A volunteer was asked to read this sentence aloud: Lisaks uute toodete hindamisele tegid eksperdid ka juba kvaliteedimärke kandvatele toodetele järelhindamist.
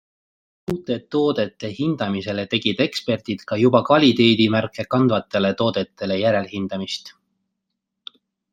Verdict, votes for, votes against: rejected, 1, 2